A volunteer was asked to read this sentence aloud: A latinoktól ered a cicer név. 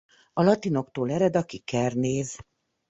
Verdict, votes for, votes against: rejected, 1, 2